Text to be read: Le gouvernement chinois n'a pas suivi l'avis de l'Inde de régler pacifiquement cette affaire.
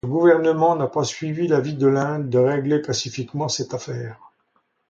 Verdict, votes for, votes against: rejected, 0, 2